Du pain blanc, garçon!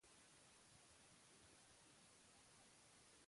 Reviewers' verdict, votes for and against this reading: rejected, 0, 2